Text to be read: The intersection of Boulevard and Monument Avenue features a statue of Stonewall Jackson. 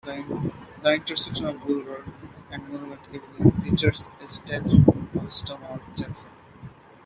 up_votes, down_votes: 0, 2